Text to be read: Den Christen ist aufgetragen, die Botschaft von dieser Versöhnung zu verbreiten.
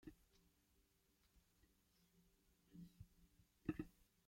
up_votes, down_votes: 0, 2